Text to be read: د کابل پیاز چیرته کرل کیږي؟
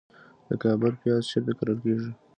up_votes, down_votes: 2, 0